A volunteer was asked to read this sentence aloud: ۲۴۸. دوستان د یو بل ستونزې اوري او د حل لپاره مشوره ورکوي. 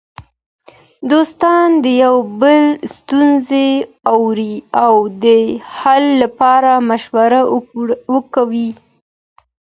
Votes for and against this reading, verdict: 0, 2, rejected